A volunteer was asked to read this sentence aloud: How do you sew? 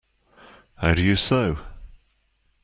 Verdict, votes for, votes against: accepted, 2, 1